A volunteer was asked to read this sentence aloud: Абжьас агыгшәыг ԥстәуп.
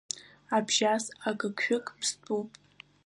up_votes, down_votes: 2, 0